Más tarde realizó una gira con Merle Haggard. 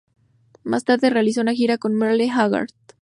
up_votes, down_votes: 8, 2